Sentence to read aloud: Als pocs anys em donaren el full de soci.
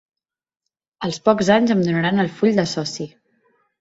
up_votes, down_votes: 0, 2